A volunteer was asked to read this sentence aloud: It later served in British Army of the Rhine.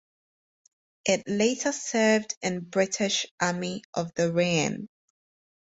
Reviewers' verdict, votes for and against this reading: accepted, 4, 0